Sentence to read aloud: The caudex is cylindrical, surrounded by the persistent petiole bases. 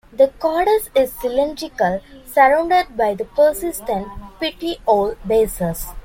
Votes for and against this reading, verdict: 2, 1, accepted